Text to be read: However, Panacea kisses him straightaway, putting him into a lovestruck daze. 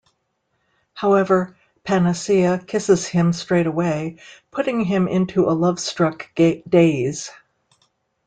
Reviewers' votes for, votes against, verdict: 0, 2, rejected